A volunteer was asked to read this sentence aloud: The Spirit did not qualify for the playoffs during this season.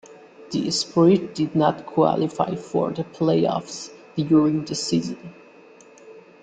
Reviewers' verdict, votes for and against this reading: accepted, 3, 1